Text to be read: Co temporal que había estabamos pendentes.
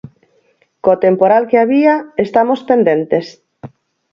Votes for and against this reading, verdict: 2, 4, rejected